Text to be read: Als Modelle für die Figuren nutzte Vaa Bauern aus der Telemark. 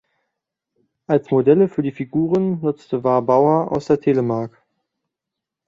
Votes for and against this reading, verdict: 0, 2, rejected